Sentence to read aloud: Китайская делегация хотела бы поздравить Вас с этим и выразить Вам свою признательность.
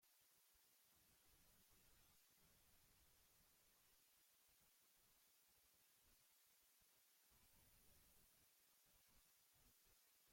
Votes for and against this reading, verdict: 0, 2, rejected